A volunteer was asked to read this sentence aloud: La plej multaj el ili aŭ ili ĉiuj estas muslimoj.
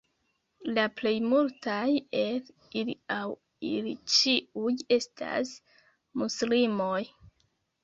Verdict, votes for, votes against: accepted, 2, 0